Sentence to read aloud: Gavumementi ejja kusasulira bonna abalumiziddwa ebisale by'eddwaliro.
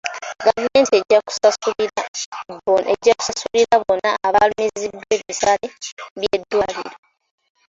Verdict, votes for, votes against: rejected, 0, 2